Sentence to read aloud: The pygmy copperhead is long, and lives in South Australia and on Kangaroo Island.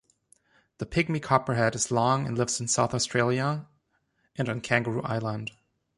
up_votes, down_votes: 2, 0